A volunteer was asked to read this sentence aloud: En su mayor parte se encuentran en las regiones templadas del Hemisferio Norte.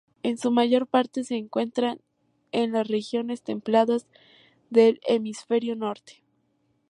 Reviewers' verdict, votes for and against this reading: accepted, 2, 0